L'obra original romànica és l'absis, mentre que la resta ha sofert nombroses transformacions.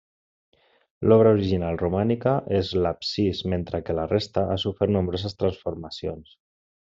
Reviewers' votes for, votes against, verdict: 0, 2, rejected